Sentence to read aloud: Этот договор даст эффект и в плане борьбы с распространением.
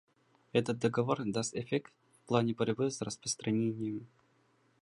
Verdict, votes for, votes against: rejected, 1, 2